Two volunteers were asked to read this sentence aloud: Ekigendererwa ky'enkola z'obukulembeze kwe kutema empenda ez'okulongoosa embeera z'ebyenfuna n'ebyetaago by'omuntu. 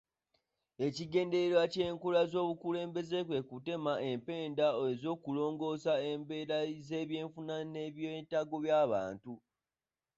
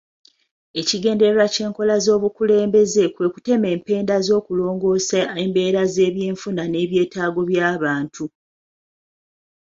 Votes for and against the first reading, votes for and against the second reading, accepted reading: 2, 1, 0, 2, first